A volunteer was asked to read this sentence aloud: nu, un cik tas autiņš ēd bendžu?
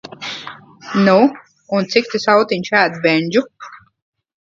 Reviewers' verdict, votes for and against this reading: rejected, 1, 2